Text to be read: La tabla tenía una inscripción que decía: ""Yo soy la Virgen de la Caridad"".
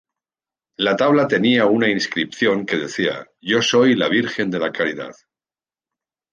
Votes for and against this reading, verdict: 2, 0, accepted